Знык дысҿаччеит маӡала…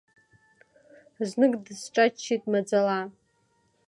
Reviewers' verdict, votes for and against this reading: accepted, 3, 1